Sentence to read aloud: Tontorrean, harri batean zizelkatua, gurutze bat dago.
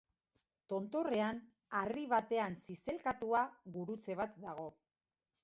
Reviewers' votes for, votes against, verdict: 2, 0, accepted